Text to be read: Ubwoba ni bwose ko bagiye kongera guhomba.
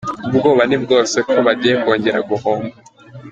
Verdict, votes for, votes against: accepted, 2, 0